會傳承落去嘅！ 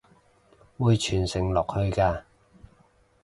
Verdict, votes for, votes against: rejected, 0, 2